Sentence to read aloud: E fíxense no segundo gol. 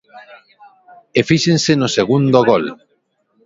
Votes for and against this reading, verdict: 3, 2, accepted